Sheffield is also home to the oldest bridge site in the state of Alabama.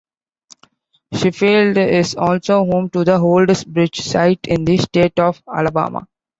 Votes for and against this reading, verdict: 1, 2, rejected